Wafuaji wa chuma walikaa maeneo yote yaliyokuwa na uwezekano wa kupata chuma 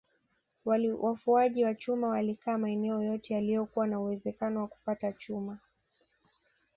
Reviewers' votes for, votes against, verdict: 1, 2, rejected